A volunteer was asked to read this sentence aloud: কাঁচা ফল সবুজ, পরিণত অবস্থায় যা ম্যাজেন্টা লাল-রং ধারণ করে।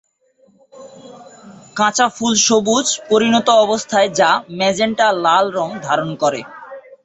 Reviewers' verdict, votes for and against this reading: rejected, 1, 3